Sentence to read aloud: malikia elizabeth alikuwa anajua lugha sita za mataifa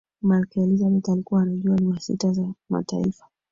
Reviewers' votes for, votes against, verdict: 2, 1, accepted